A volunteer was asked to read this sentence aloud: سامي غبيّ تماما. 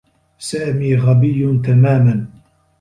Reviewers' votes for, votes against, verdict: 2, 0, accepted